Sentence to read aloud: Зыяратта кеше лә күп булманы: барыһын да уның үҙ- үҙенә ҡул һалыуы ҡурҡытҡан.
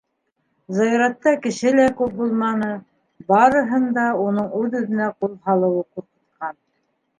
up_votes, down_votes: 0, 2